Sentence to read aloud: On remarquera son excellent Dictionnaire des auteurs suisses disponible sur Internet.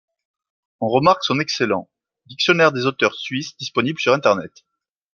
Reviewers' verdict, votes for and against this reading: rejected, 0, 2